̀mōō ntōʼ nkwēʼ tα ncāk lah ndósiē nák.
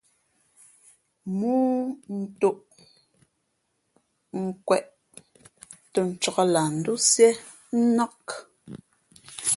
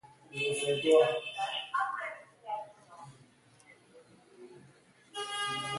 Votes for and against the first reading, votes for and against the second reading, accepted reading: 2, 0, 1, 3, first